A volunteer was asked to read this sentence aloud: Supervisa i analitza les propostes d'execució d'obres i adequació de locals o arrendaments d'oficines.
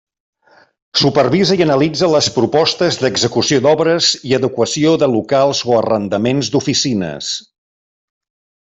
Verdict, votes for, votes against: accepted, 3, 0